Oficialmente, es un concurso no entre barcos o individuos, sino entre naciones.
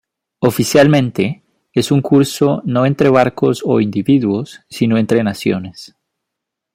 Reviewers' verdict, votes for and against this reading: rejected, 0, 2